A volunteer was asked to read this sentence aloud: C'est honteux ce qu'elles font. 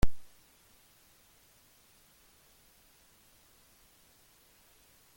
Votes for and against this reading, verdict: 0, 2, rejected